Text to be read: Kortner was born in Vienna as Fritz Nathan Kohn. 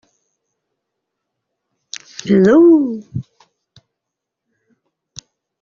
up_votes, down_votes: 0, 2